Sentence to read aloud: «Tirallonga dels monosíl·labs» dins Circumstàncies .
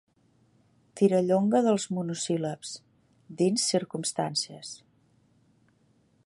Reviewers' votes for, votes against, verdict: 2, 0, accepted